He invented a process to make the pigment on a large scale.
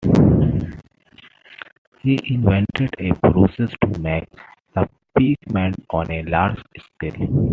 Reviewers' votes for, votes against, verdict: 1, 2, rejected